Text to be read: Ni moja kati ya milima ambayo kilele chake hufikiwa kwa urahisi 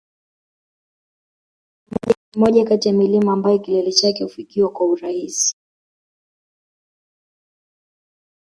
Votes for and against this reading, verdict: 0, 2, rejected